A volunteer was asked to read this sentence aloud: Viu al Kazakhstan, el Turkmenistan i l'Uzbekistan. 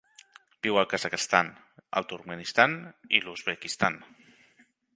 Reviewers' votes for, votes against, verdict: 3, 0, accepted